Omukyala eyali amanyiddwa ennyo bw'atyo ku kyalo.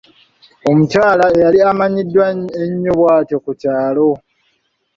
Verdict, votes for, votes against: rejected, 1, 2